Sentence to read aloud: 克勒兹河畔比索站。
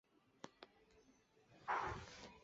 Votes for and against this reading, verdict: 3, 4, rejected